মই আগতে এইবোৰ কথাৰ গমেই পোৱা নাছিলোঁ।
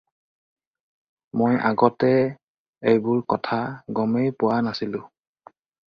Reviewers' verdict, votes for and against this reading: rejected, 0, 2